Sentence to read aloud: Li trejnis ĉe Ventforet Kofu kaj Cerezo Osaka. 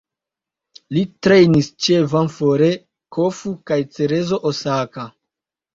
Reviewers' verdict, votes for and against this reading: rejected, 0, 2